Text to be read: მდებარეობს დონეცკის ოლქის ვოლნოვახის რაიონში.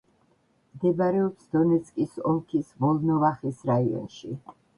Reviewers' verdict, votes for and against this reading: rejected, 1, 2